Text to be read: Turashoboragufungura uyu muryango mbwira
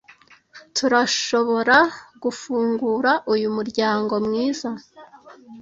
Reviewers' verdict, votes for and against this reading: rejected, 1, 2